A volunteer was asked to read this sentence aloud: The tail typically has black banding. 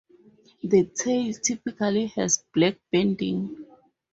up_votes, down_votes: 4, 0